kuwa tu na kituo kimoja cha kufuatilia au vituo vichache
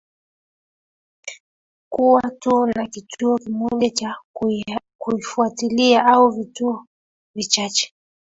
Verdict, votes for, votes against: accepted, 2, 1